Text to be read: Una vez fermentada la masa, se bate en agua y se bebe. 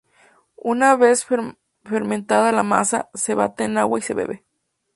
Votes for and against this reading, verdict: 0, 2, rejected